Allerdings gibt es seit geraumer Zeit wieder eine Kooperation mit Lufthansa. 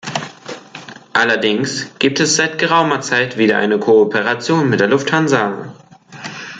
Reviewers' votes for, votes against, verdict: 0, 2, rejected